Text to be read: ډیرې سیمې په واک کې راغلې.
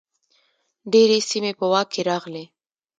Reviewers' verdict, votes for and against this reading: accepted, 2, 0